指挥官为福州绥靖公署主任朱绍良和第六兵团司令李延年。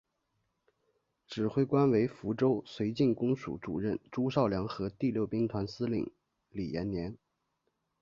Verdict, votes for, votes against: accepted, 4, 2